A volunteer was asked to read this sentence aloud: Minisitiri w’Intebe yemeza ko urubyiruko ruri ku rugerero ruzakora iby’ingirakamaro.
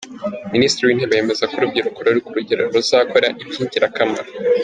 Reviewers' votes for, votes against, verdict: 3, 1, accepted